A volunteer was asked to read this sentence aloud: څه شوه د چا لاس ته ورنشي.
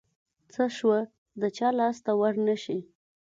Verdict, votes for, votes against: accepted, 2, 0